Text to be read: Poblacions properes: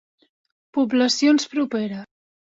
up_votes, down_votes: 1, 2